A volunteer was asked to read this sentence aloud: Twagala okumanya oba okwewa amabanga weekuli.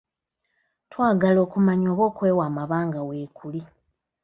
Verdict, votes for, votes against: rejected, 1, 2